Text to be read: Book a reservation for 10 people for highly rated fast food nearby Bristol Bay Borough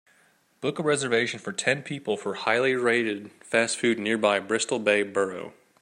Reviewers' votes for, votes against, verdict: 0, 2, rejected